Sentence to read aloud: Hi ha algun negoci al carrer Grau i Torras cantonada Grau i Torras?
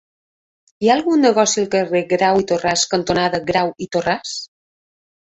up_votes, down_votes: 1, 2